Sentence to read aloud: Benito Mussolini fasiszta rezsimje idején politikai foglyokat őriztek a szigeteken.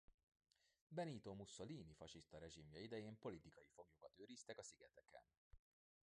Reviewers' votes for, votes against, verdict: 2, 1, accepted